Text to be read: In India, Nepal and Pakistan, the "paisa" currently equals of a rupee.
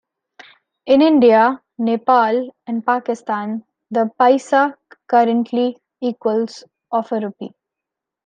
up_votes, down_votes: 2, 1